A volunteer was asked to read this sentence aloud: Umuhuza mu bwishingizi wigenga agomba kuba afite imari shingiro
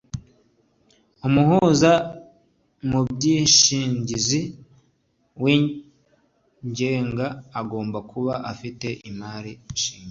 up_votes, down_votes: 1, 2